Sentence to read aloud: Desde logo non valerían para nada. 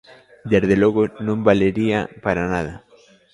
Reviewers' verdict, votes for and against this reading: rejected, 0, 2